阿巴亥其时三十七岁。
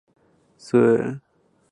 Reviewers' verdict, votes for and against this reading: rejected, 0, 2